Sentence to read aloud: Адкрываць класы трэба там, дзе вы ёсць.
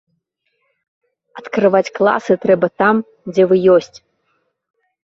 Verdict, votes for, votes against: accepted, 2, 0